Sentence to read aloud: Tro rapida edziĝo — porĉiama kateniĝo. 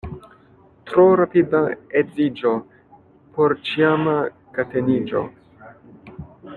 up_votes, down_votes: 2, 1